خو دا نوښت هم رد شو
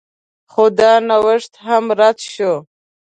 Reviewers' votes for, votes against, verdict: 2, 1, accepted